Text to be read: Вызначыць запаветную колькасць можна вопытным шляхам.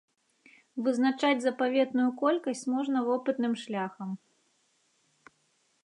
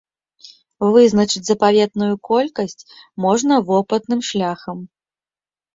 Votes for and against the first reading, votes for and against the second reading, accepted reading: 1, 2, 2, 0, second